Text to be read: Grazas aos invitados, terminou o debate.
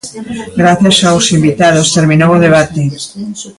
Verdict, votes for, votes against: rejected, 0, 2